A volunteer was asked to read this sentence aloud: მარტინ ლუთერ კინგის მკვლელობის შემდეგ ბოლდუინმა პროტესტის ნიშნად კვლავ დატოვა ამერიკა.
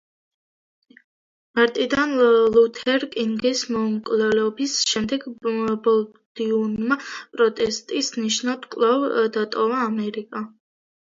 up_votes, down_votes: 0, 2